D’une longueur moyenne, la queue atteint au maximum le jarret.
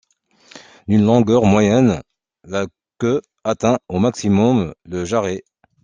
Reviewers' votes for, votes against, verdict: 2, 0, accepted